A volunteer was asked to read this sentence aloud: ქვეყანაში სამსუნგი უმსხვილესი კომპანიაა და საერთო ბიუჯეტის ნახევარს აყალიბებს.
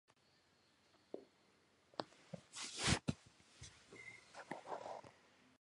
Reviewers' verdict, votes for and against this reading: rejected, 0, 2